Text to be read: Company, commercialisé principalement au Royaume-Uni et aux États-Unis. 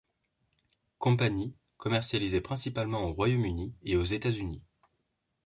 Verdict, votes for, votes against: accepted, 2, 0